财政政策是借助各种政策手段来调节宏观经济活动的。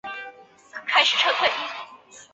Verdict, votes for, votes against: rejected, 2, 7